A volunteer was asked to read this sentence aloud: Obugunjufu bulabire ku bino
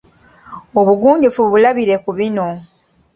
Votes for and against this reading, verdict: 2, 1, accepted